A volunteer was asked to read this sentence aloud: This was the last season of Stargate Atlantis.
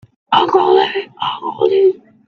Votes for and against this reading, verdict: 0, 2, rejected